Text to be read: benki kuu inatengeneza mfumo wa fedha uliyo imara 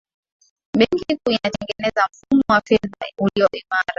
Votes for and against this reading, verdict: 5, 3, accepted